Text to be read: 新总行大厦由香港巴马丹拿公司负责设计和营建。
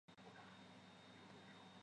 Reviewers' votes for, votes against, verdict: 0, 2, rejected